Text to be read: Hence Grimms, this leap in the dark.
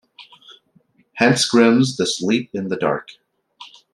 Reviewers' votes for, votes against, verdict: 2, 0, accepted